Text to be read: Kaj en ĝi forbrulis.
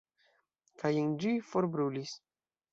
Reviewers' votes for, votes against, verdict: 2, 0, accepted